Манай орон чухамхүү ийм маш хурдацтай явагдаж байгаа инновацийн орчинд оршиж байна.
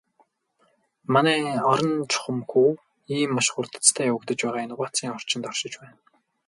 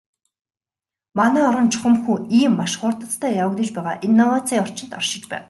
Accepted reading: second